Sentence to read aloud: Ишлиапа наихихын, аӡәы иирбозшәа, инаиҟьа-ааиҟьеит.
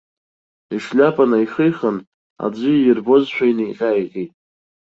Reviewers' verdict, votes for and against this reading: accepted, 2, 0